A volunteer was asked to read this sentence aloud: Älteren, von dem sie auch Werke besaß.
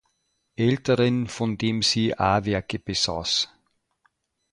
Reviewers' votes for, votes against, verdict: 0, 2, rejected